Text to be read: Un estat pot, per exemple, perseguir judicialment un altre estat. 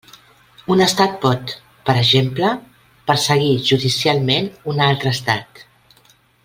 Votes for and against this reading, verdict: 3, 0, accepted